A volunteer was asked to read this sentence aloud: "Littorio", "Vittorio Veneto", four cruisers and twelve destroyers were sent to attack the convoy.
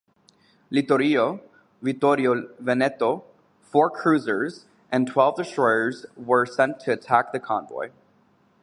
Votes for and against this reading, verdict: 0, 2, rejected